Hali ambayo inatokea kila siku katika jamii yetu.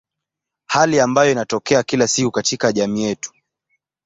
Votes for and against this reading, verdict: 2, 0, accepted